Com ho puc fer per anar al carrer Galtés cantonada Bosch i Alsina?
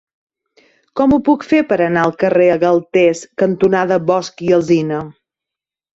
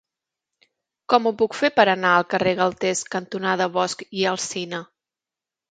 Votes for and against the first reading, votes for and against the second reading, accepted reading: 0, 2, 2, 0, second